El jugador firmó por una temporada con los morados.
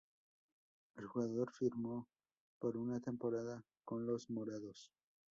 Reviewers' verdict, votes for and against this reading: rejected, 2, 2